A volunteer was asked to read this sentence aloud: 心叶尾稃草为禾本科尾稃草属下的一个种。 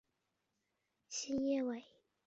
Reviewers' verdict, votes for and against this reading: rejected, 0, 2